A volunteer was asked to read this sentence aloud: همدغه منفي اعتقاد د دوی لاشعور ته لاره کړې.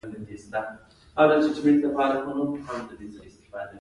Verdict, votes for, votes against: rejected, 0, 2